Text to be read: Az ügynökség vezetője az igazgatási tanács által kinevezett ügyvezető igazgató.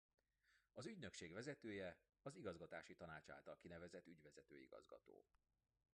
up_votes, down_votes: 0, 2